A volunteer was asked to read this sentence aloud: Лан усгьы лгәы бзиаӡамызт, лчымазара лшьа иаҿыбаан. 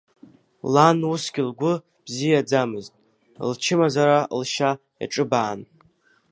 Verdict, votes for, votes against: accepted, 2, 0